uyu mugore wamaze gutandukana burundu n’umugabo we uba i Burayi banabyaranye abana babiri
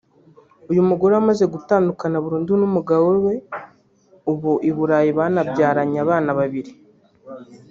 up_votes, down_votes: 0, 2